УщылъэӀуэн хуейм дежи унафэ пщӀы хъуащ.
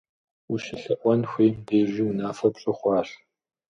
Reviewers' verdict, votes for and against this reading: accepted, 2, 0